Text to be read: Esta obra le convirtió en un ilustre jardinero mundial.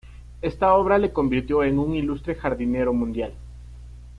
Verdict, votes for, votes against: accepted, 2, 0